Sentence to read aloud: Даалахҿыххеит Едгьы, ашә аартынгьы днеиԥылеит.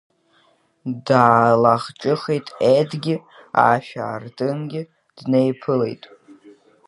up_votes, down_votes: 3, 2